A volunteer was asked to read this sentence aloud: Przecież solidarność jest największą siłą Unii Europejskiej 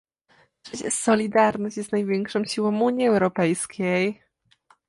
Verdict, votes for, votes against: accepted, 2, 0